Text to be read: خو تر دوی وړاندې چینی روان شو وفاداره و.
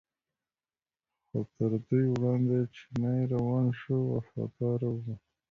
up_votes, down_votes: 2, 0